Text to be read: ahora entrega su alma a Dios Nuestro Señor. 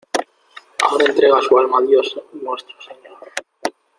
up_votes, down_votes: 2, 1